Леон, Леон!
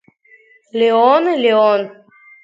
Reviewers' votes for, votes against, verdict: 3, 1, accepted